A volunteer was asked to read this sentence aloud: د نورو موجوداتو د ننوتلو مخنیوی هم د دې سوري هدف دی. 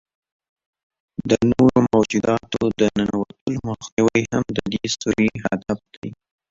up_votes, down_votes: 2, 0